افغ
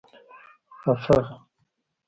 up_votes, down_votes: 1, 2